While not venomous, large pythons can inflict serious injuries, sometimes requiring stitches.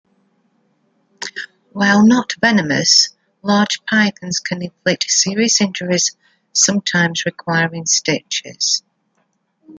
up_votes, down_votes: 0, 2